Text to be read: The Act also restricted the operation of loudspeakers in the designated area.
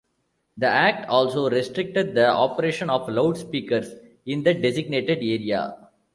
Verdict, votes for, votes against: rejected, 0, 2